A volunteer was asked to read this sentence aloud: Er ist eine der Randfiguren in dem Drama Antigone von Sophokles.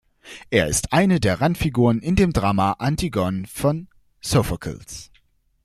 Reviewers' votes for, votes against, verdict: 1, 2, rejected